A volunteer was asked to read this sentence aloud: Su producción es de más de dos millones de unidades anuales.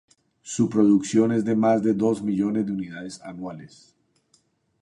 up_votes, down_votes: 2, 0